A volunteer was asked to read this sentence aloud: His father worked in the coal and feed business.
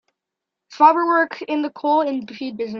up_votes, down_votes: 0, 2